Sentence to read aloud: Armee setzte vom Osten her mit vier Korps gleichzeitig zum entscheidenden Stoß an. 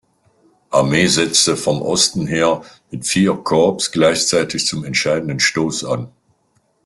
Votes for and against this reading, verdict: 0, 2, rejected